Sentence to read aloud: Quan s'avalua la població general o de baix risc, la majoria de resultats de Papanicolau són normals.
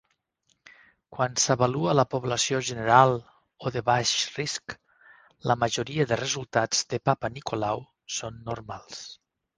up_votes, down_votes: 4, 0